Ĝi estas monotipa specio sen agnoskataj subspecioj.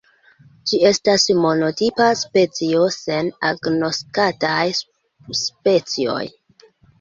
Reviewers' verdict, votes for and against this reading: rejected, 0, 2